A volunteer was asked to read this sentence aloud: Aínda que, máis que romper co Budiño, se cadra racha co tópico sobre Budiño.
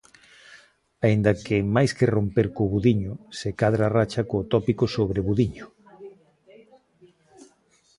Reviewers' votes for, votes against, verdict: 1, 2, rejected